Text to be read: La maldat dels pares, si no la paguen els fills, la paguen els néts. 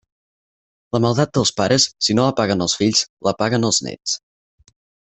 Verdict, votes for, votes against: accepted, 4, 0